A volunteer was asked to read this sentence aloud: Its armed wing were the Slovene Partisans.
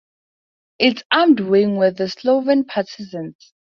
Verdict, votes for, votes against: accepted, 4, 0